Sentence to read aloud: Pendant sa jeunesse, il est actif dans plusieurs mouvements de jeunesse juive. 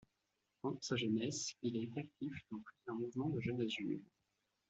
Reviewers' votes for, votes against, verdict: 1, 2, rejected